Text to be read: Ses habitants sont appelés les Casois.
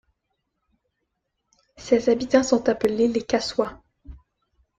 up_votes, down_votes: 2, 1